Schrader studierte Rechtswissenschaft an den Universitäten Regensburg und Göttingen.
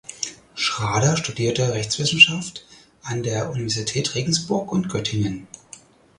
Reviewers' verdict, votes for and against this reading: rejected, 0, 4